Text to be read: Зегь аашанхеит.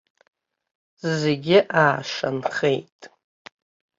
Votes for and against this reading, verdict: 1, 2, rejected